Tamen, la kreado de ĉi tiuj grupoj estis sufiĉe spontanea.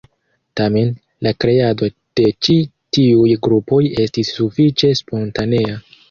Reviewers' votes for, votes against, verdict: 1, 2, rejected